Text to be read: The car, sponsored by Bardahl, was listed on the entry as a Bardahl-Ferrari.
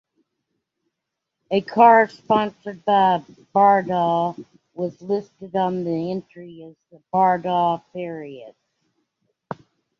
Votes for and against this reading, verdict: 0, 2, rejected